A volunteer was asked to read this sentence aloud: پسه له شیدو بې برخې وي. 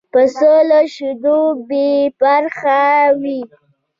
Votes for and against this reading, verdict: 1, 2, rejected